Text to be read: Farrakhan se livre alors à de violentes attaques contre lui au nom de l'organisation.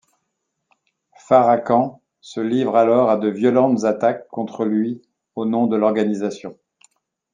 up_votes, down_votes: 2, 0